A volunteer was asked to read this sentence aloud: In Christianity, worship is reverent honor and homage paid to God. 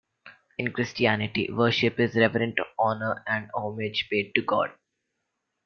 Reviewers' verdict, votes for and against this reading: accepted, 2, 1